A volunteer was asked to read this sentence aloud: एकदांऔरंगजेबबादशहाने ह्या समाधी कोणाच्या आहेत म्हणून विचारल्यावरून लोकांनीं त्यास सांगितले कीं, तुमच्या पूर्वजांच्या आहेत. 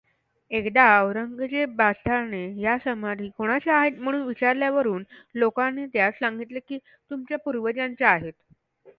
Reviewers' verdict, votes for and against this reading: accepted, 2, 0